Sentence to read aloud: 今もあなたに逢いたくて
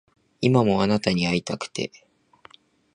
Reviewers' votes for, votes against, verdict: 4, 0, accepted